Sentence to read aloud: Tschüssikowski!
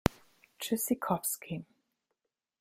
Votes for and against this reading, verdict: 2, 0, accepted